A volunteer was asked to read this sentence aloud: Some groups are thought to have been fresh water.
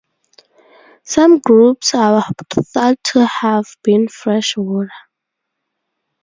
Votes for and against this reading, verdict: 4, 6, rejected